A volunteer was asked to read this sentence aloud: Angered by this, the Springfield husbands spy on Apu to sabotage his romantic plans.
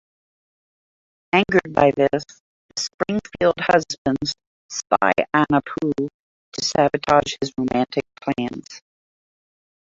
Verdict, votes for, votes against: accepted, 3, 1